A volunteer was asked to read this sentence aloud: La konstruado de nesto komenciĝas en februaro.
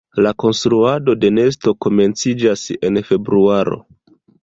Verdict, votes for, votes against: accepted, 2, 1